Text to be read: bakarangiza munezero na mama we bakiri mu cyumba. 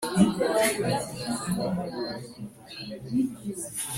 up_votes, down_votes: 1, 2